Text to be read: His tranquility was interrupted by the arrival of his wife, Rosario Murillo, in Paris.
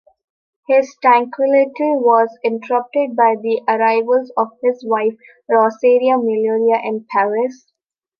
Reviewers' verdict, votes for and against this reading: rejected, 1, 2